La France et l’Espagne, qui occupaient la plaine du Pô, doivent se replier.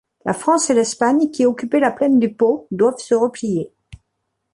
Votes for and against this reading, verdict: 2, 0, accepted